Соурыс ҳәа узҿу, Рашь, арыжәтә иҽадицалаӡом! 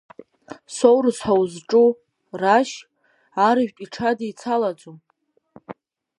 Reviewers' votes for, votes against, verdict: 1, 3, rejected